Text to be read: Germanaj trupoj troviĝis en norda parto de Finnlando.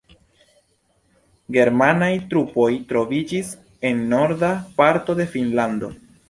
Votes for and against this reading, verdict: 3, 0, accepted